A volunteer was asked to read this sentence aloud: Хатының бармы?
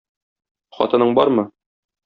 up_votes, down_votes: 2, 0